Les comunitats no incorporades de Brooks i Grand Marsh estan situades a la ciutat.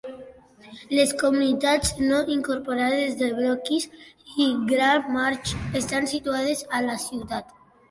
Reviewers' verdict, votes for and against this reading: rejected, 0, 2